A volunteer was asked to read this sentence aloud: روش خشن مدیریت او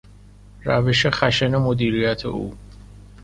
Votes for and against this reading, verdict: 2, 0, accepted